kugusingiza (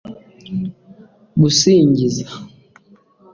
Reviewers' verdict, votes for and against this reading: accepted, 2, 1